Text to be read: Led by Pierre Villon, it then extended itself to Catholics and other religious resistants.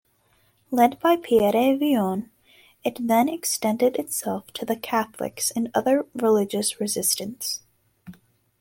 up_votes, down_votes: 1, 2